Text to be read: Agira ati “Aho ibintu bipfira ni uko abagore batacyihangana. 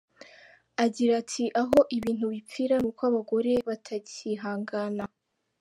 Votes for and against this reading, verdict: 2, 0, accepted